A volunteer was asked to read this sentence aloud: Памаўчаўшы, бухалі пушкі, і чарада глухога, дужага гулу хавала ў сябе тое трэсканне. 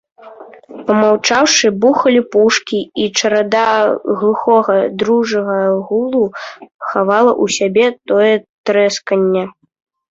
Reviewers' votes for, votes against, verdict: 0, 2, rejected